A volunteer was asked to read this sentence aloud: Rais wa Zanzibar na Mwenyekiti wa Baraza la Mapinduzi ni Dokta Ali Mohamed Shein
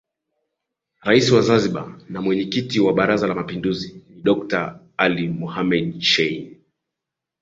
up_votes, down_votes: 5, 0